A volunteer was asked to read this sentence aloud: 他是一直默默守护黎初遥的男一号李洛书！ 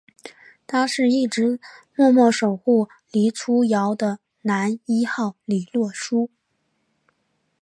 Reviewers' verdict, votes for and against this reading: accepted, 2, 0